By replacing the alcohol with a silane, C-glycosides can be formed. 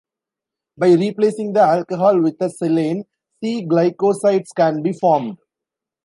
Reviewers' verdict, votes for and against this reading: rejected, 0, 2